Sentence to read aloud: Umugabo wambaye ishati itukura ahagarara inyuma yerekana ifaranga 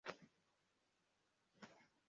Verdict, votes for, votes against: rejected, 0, 2